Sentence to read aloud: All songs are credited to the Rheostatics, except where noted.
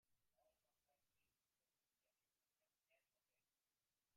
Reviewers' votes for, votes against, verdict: 0, 2, rejected